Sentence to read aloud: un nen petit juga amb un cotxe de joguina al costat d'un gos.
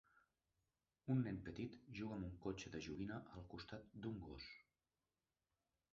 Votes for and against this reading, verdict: 1, 2, rejected